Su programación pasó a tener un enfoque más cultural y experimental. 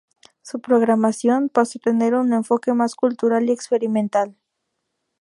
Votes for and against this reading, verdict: 0, 2, rejected